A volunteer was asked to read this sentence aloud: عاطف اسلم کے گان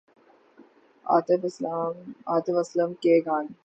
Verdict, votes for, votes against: rejected, 9, 24